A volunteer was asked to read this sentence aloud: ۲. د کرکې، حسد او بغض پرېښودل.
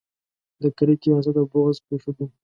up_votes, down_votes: 0, 2